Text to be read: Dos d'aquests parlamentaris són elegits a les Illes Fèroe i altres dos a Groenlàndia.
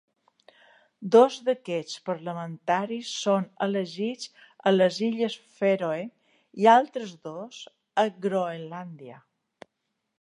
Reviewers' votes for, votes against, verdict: 3, 0, accepted